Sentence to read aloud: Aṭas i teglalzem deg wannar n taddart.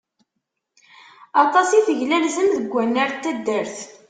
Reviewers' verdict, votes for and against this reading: accepted, 2, 0